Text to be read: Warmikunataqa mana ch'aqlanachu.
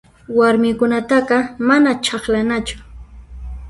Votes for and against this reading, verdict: 0, 2, rejected